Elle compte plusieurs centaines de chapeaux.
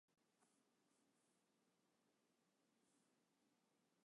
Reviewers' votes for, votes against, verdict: 0, 2, rejected